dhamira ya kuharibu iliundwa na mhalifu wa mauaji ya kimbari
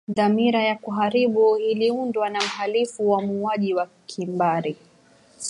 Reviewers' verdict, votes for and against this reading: rejected, 1, 2